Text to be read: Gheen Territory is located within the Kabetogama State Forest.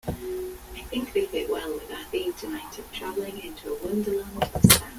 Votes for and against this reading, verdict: 0, 2, rejected